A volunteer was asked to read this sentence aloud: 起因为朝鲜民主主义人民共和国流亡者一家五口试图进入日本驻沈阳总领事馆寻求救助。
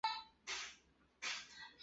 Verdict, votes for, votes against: rejected, 0, 2